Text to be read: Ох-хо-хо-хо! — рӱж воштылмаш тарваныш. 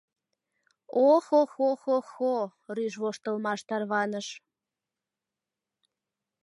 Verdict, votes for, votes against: rejected, 1, 2